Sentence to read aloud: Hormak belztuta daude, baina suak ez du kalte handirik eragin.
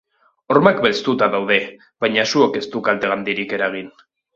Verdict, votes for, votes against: accepted, 2, 0